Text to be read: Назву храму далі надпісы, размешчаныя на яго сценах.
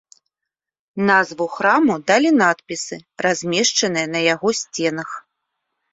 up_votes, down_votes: 2, 0